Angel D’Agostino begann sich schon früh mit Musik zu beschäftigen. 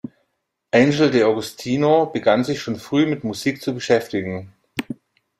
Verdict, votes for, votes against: accepted, 2, 0